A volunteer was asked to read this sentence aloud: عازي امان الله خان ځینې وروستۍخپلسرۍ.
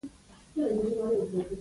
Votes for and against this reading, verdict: 0, 2, rejected